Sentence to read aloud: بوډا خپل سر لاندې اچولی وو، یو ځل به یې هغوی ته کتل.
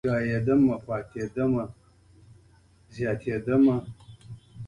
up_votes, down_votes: 0, 2